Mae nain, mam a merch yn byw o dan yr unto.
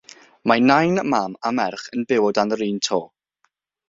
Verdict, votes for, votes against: rejected, 3, 3